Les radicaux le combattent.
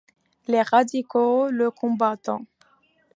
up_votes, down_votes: 2, 1